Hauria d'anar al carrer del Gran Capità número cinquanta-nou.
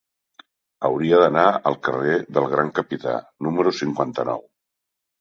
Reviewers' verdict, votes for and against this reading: accepted, 3, 0